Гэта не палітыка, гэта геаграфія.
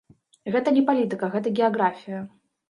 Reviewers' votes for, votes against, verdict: 0, 2, rejected